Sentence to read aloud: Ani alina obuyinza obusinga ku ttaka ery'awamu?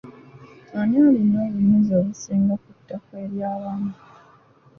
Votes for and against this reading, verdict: 2, 0, accepted